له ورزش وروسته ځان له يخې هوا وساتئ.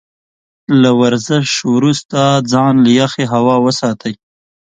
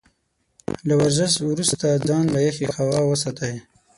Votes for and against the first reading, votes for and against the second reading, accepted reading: 2, 0, 0, 6, first